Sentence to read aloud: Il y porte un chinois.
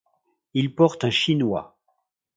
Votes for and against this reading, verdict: 1, 2, rejected